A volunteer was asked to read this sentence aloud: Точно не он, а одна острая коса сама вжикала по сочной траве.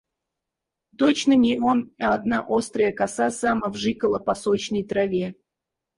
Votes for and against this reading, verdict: 2, 4, rejected